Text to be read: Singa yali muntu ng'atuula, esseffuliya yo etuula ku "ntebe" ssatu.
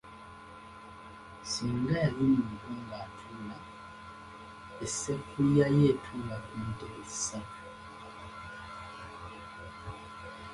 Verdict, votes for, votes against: rejected, 1, 3